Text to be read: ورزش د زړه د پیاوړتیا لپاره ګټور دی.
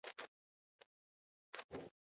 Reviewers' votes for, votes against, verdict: 0, 2, rejected